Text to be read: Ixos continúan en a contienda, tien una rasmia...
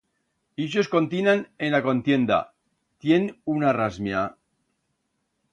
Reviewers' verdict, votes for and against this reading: rejected, 1, 2